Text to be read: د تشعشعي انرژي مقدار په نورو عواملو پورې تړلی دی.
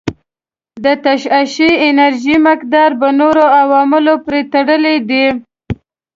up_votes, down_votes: 0, 2